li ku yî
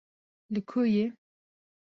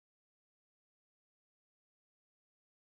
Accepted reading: first